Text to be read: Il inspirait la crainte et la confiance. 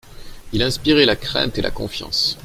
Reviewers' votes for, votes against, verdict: 2, 1, accepted